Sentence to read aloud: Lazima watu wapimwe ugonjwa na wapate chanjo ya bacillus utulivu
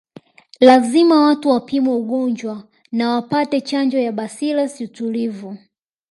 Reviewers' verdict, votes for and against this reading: rejected, 1, 2